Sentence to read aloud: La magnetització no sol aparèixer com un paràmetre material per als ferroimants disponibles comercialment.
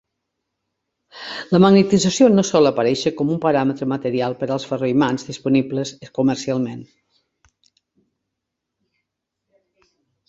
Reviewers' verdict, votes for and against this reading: accepted, 3, 1